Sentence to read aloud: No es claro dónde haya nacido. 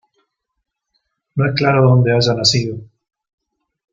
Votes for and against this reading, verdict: 0, 2, rejected